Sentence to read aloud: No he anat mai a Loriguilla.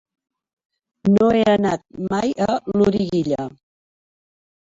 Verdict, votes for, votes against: rejected, 0, 2